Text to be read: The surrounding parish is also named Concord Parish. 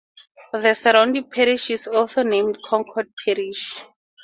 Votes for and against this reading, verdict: 4, 0, accepted